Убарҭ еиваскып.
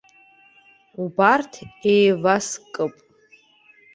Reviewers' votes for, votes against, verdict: 2, 0, accepted